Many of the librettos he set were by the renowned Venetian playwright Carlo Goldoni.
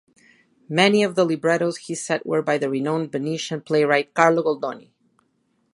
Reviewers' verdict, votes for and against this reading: accepted, 2, 0